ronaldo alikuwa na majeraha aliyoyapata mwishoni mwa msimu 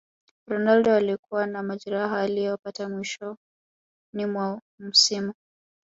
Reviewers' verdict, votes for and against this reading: accepted, 2, 0